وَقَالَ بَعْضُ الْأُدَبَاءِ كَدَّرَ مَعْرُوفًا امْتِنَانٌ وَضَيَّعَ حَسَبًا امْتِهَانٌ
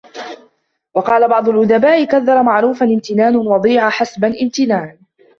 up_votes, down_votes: 0, 2